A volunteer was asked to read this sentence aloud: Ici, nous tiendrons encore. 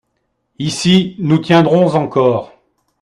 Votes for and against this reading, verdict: 2, 0, accepted